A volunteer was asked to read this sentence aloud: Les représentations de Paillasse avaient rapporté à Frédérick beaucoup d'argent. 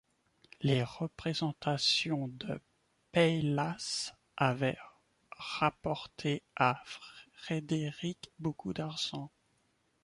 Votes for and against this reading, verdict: 1, 2, rejected